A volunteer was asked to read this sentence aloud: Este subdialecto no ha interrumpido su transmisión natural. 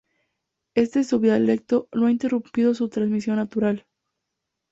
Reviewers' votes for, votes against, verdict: 2, 0, accepted